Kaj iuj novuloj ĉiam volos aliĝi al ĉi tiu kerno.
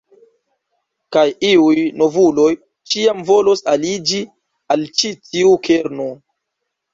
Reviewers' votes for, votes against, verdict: 3, 0, accepted